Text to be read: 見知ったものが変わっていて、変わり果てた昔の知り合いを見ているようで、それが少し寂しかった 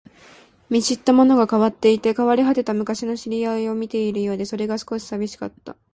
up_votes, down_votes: 2, 0